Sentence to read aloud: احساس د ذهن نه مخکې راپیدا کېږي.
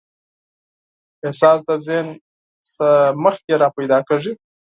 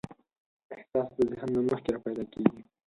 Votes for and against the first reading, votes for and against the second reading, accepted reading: 4, 0, 2, 4, first